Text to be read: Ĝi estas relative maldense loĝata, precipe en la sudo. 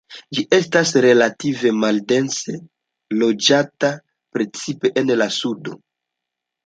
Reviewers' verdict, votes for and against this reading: accepted, 2, 0